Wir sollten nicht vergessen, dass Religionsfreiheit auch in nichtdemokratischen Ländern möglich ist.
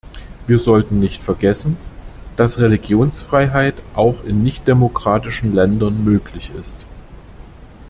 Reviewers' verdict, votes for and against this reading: accepted, 2, 0